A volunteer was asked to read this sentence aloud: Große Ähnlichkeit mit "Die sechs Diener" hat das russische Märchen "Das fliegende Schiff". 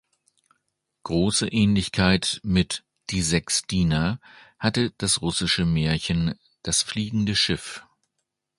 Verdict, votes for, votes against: rejected, 0, 2